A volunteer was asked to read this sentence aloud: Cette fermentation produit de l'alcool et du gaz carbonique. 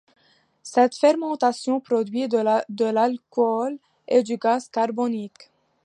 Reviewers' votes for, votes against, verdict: 1, 2, rejected